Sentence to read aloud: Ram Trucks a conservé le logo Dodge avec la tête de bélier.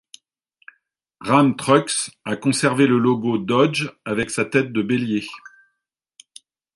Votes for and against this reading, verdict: 1, 2, rejected